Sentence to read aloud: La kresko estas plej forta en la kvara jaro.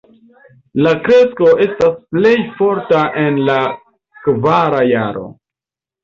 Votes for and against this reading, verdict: 2, 0, accepted